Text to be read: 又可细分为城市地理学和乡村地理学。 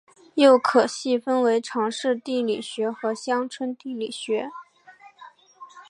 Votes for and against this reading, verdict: 3, 0, accepted